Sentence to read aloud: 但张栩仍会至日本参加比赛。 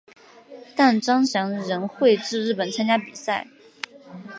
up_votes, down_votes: 2, 3